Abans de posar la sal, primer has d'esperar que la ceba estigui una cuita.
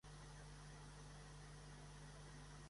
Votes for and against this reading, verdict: 0, 2, rejected